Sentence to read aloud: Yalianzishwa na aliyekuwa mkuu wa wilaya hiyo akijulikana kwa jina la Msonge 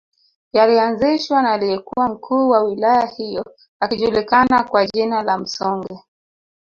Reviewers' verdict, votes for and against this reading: accepted, 3, 0